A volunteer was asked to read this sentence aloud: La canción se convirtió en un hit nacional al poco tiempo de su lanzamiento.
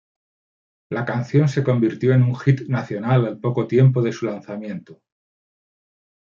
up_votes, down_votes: 2, 0